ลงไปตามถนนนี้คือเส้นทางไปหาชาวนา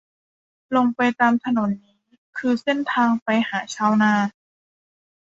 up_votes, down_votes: 1, 2